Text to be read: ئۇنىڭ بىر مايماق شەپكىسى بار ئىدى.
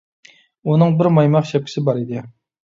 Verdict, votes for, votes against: accepted, 2, 1